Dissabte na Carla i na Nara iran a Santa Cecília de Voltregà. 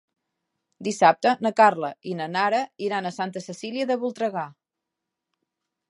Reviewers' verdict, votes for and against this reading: accepted, 4, 0